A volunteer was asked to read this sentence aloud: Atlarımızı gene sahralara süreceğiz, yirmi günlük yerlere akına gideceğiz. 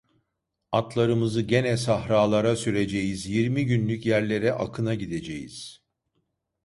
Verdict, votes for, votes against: rejected, 1, 2